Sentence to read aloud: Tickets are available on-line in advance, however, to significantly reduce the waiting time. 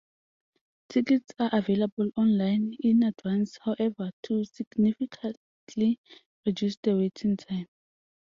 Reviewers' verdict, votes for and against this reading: accepted, 2, 0